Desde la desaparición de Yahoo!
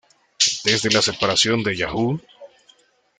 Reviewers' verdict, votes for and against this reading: rejected, 0, 2